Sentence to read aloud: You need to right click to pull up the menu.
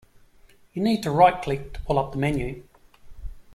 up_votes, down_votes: 2, 0